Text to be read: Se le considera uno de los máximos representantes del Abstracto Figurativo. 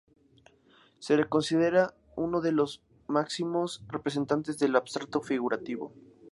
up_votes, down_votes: 2, 0